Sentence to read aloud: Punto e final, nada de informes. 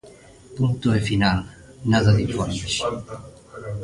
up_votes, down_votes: 0, 2